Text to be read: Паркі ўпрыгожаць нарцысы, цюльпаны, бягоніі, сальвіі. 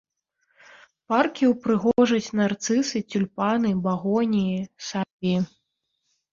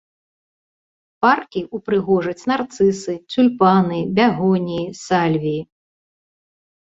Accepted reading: second